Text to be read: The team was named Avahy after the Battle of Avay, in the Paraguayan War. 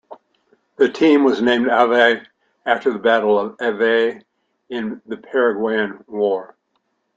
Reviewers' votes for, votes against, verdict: 0, 2, rejected